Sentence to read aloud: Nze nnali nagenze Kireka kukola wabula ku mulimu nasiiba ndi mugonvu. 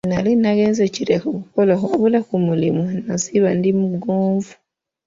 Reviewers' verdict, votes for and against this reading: rejected, 0, 2